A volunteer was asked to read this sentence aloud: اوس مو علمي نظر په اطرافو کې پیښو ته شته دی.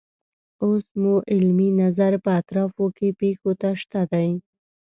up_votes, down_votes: 3, 0